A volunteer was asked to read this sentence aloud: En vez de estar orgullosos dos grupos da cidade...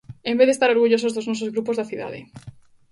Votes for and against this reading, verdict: 0, 2, rejected